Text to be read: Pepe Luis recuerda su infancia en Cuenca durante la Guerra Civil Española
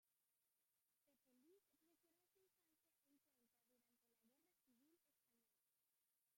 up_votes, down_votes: 0, 2